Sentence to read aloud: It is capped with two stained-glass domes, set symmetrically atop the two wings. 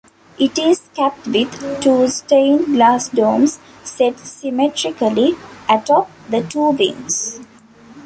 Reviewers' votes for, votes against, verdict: 2, 0, accepted